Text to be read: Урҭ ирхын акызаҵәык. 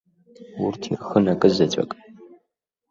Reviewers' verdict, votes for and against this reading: accepted, 2, 0